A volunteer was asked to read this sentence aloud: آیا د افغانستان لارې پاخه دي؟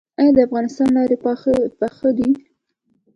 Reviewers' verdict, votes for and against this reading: rejected, 1, 2